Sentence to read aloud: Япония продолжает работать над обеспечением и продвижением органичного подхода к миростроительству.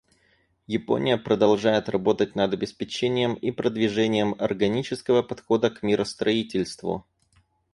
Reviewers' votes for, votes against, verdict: 0, 4, rejected